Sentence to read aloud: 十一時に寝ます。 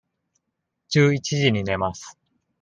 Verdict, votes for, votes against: accepted, 2, 0